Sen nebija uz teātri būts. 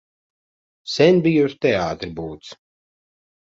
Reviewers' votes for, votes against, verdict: 0, 2, rejected